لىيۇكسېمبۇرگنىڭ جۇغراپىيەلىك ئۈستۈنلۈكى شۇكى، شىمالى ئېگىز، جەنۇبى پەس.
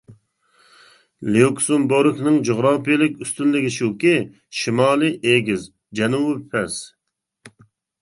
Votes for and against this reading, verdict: 1, 2, rejected